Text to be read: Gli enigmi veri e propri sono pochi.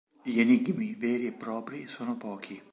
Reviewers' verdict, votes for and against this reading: accepted, 2, 0